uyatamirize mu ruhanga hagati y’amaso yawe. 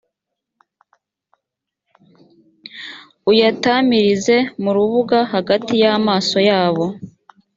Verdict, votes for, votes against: rejected, 1, 2